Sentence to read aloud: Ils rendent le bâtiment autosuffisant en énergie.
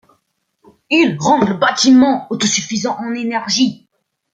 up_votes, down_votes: 2, 0